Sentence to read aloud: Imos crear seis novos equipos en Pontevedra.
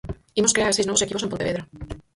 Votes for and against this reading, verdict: 0, 4, rejected